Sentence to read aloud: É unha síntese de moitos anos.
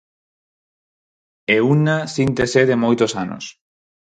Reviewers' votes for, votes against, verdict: 0, 4, rejected